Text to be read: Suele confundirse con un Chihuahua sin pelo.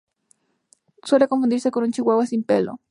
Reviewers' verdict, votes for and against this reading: accepted, 2, 0